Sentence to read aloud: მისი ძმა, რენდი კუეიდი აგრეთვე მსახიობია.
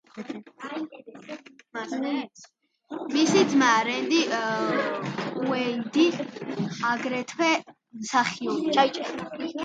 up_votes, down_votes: 1, 2